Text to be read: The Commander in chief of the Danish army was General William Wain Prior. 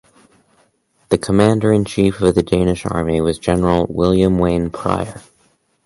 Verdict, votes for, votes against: accepted, 2, 0